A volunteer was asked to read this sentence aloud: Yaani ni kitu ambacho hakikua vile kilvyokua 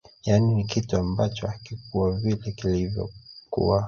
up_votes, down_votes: 0, 2